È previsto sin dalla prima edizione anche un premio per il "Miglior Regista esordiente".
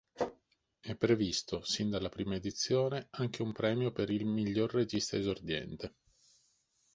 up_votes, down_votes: 3, 0